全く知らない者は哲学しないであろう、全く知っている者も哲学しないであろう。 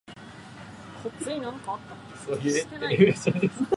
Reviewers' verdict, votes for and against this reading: rejected, 0, 4